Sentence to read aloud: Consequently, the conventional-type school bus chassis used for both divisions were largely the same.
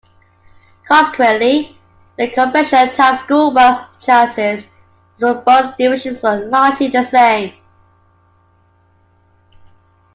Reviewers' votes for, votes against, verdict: 1, 2, rejected